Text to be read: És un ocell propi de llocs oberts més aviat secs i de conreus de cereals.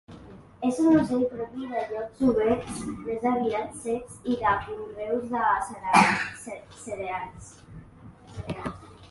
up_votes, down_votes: 0, 2